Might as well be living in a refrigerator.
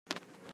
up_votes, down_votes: 0, 2